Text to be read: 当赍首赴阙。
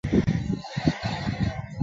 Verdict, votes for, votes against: rejected, 0, 2